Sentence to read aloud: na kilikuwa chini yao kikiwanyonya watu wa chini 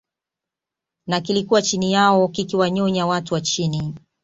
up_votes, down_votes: 2, 0